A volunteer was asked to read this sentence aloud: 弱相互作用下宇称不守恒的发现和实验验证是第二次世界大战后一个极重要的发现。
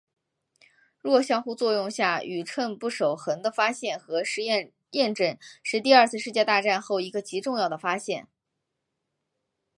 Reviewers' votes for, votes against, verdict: 3, 0, accepted